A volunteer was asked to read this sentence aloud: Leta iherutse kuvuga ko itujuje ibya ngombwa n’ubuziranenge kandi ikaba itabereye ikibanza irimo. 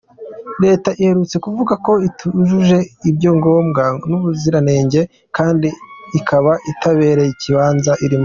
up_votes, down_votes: 1, 2